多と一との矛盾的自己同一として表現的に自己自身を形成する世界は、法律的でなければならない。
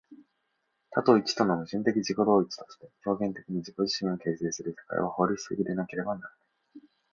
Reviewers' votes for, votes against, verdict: 1, 2, rejected